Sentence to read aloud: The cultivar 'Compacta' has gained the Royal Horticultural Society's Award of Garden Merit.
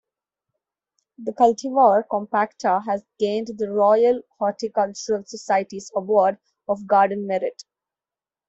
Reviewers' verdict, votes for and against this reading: accepted, 2, 0